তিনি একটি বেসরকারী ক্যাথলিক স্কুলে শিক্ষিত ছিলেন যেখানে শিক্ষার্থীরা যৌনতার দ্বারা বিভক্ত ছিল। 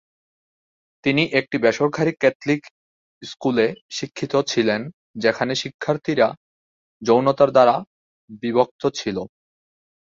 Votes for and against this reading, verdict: 2, 4, rejected